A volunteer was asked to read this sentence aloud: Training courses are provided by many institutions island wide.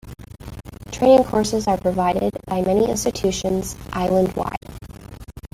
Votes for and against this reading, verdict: 1, 2, rejected